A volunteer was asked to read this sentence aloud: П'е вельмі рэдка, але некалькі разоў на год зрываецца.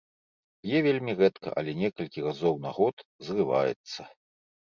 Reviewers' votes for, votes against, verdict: 2, 0, accepted